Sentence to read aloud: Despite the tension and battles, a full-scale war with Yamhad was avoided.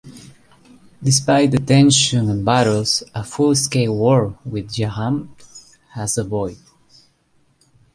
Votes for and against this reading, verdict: 1, 2, rejected